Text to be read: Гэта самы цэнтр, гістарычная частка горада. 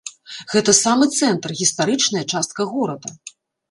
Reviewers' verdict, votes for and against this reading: accepted, 2, 0